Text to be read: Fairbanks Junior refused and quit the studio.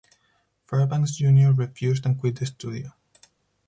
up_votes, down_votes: 4, 0